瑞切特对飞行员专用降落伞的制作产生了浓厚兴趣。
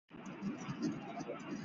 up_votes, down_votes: 1, 2